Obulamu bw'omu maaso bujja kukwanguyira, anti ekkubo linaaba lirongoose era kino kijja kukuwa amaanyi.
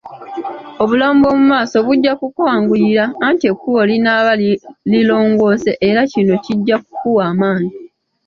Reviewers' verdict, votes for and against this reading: accepted, 2, 0